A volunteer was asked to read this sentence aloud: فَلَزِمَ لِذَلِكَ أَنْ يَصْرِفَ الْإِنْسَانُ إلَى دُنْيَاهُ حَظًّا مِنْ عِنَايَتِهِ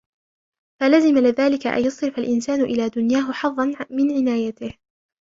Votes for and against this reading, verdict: 2, 1, accepted